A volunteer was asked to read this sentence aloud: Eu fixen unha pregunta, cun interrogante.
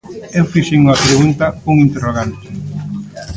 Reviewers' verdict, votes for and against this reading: rejected, 0, 2